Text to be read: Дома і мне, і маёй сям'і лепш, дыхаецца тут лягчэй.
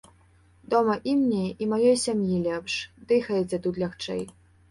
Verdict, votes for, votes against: accepted, 2, 0